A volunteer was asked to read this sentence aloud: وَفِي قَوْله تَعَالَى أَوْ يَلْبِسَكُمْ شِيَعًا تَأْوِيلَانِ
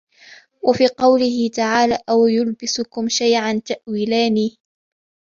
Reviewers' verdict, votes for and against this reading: accepted, 2, 1